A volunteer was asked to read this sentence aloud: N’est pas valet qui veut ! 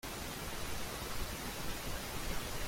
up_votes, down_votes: 0, 2